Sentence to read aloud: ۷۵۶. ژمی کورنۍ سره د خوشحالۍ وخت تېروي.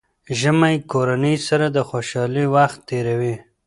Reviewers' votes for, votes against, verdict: 0, 2, rejected